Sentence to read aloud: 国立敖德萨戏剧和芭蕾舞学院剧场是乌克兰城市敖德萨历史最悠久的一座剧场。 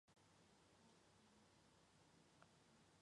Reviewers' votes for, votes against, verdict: 0, 2, rejected